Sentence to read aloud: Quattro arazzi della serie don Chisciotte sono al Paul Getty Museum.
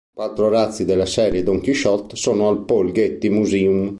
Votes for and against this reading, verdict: 1, 2, rejected